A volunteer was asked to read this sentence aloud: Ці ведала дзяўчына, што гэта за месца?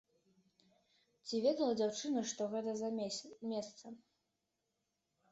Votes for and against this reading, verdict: 0, 2, rejected